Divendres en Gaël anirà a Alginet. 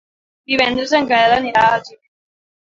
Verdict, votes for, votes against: rejected, 1, 3